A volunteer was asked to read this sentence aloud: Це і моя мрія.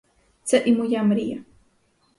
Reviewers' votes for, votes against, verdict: 4, 0, accepted